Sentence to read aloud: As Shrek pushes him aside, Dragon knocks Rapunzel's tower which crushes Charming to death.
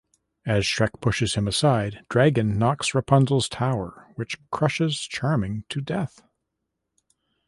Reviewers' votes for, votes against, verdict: 0, 2, rejected